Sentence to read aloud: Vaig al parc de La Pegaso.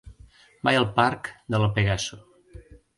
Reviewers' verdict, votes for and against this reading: accepted, 2, 0